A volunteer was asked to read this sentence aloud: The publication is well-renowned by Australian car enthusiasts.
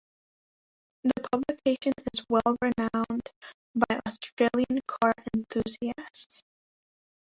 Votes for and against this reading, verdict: 2, 3, rejected